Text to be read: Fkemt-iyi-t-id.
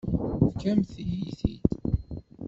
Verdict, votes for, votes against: rejected, 0, 2